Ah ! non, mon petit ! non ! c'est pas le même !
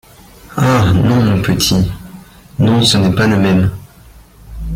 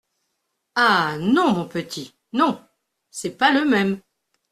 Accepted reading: second